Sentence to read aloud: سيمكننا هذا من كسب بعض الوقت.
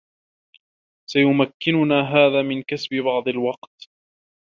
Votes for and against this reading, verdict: 2, 0, accepted